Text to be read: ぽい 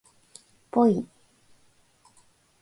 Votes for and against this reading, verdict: 2, 0, accepted